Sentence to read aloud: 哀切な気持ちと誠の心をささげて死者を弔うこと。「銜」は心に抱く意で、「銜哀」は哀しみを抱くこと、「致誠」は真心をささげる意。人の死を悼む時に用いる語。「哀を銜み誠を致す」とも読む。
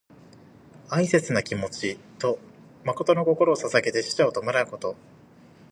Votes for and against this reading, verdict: 0, 2, rejected